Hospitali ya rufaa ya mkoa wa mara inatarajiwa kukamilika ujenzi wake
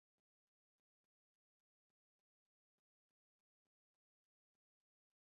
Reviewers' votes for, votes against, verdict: 1, 2, rejected